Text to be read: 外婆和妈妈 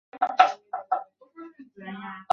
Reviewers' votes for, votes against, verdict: 0, 3, rejected